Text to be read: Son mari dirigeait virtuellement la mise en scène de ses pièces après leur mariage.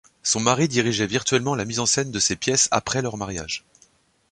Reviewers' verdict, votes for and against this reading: accepted, 2, 0